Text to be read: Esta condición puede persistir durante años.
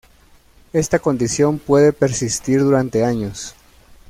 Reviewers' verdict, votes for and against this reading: accepted, 2, 0